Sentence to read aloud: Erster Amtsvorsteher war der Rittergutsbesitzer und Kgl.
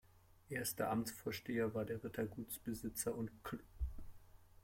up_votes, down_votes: 0, 2